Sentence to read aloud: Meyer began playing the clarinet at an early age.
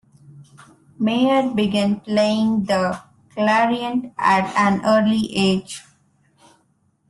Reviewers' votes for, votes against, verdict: 0, 2, rejected